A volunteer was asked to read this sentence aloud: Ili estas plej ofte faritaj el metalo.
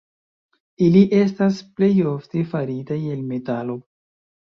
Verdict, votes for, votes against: accepted, 2, 1